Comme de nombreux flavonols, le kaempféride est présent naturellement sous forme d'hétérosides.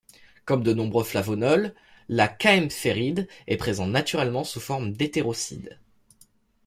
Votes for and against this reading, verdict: 3, 1, accepted